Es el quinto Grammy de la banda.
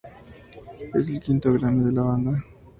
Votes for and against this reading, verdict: 2, 0, accepted